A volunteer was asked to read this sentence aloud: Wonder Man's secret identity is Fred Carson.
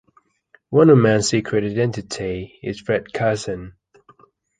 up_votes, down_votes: 3, 0